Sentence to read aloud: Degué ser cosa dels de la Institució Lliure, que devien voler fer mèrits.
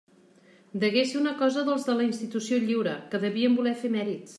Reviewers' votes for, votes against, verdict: 0, 2, rejected